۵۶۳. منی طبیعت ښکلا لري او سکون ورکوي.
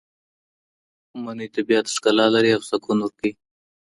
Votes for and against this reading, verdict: 0, 2, rejected